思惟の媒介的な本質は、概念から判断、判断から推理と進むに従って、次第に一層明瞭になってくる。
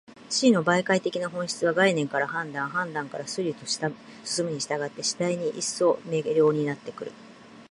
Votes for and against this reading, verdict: 1, 2, rejected